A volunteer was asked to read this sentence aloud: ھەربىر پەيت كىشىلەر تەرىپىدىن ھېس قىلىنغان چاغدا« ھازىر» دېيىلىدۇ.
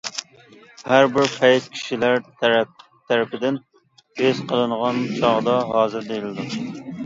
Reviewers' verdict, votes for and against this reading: rejected, 0, 2